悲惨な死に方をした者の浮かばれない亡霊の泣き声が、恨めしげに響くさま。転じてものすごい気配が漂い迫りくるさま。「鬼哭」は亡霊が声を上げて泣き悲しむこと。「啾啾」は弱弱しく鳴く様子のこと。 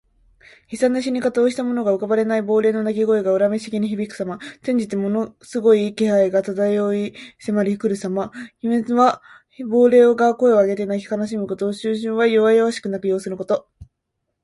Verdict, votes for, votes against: accepted, 2, 1